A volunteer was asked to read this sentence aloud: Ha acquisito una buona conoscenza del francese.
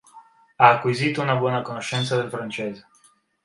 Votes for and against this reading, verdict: 3, 0, accepted